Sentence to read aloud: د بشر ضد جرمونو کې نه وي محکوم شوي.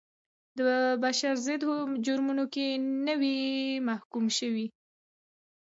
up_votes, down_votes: 2, 1